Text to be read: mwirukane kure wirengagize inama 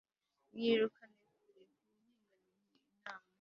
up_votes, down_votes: 2, 3